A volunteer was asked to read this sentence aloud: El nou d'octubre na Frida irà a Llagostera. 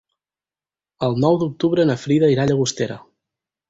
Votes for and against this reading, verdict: 4, 0, accepted